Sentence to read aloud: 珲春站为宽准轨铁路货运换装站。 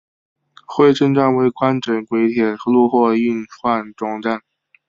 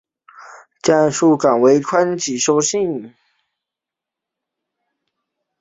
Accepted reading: first